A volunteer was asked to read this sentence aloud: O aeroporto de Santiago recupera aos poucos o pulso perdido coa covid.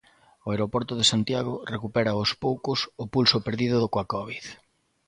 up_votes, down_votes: 2, 0